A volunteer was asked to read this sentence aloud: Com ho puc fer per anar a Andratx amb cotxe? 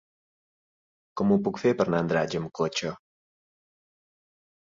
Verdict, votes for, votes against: accepted, 3, 0